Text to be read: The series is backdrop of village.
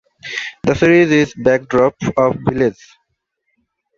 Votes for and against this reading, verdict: 1, 2, rejected